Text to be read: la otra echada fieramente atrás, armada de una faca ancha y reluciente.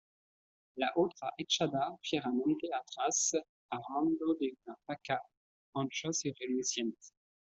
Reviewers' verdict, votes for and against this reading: rejected, 1, 2